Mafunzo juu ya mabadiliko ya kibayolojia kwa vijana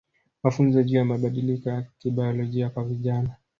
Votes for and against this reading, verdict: 3, 0, accepted